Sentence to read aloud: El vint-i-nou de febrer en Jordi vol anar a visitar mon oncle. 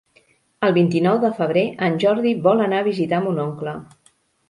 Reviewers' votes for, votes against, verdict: 3, 1, accepted